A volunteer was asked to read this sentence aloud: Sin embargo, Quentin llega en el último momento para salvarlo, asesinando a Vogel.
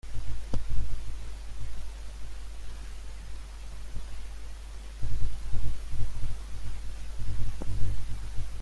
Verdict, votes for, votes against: rejected, 0, 2